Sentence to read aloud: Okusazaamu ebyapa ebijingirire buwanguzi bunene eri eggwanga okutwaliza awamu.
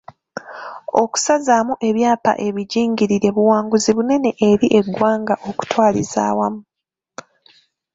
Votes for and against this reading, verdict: 2, 0, accepted